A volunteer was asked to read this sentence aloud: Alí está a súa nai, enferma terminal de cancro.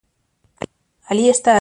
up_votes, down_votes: 0, 2